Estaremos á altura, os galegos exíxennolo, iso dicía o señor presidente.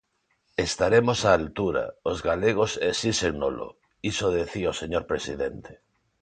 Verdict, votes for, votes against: rejected, 0, 2